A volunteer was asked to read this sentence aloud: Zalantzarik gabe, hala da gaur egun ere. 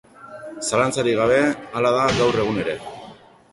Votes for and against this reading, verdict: 0, 2, rejected